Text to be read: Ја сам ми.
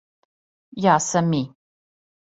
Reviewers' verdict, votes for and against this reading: accepted, 2, 0